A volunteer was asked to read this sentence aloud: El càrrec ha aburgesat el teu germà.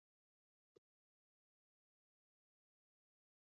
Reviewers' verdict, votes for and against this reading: rejected, 0, 2